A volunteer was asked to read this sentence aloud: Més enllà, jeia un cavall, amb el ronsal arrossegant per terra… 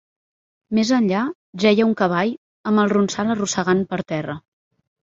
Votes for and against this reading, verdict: 2, 0, accepted